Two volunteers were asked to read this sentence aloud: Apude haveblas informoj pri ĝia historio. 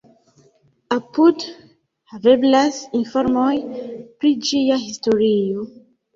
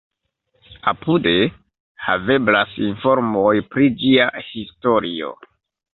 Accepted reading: second